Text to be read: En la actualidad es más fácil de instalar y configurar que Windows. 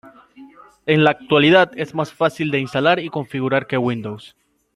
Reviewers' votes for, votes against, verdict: 2, 0, accepted